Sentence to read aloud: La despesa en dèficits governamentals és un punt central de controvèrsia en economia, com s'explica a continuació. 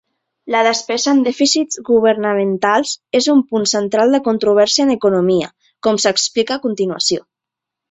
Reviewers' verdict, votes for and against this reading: accepted, 3, 0